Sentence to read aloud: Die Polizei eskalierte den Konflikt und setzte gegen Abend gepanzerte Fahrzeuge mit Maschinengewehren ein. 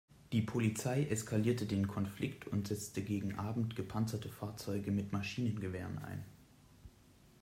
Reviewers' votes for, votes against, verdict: 2, 0, accepted